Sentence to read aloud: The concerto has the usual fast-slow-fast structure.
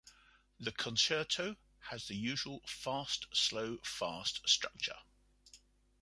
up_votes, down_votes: 2, 0